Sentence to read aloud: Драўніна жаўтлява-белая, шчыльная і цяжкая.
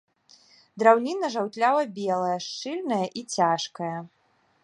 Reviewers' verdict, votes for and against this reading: accepted, 2, 0